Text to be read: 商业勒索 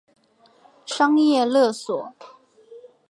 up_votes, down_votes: 2, 0